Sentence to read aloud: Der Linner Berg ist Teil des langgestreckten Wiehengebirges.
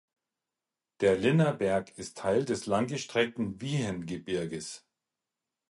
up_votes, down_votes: 4, 0